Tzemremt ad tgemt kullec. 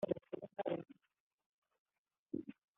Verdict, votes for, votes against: rejected, 1, 2